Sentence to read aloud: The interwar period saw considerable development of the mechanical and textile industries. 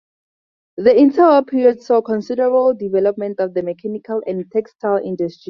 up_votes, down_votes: 4, 6